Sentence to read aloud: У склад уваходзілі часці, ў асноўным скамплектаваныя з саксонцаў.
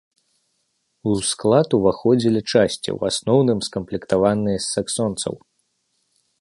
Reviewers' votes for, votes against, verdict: 2, 1, accepted